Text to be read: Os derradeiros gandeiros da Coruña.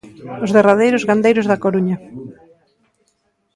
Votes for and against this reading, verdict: 2, 0, accepted